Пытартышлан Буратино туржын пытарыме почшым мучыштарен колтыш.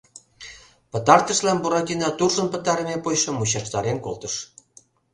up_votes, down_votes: 2, 0